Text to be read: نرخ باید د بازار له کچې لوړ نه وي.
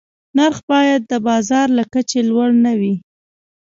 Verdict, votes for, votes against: accepted, 2, 1